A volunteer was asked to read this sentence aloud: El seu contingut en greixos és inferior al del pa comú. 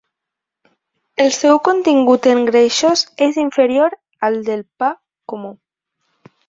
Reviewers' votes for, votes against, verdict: 2, 0, accepted